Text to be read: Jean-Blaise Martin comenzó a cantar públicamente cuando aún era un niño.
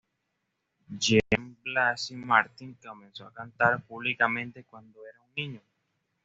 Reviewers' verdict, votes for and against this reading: rejected, 1, 2